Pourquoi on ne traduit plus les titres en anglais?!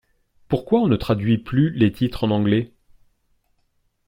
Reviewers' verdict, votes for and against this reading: accepted, 2, 0